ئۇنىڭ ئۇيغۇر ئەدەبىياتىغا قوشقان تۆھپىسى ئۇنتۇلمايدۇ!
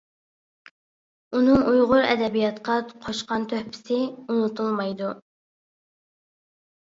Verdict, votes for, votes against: rejected, 0, 2